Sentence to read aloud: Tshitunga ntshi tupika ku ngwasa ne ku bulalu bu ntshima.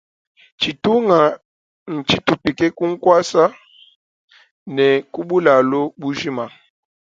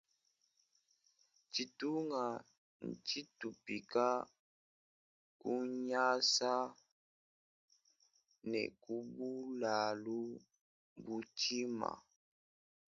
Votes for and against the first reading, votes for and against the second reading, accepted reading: 2, 0, 1, 2, first